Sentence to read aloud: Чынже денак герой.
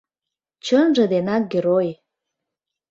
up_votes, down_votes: 2, 0